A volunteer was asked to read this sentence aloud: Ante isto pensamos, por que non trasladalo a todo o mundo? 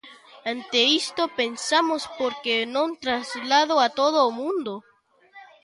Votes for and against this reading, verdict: 0, 2, rejected